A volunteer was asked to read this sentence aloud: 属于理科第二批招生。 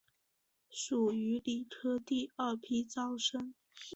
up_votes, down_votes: 2, 0